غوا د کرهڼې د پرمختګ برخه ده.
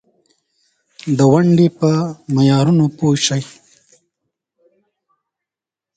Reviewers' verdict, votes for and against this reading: rejected, 2, 8